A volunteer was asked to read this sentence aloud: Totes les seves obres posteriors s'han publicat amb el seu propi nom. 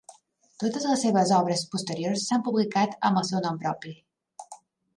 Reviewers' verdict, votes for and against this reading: rejected, 2, 3